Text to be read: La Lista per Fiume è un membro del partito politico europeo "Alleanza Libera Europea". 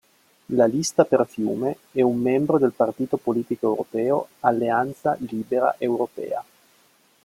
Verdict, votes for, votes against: rejected, 1, 2